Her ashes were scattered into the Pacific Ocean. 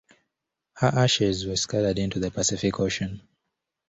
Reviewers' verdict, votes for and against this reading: accepted, 2, 1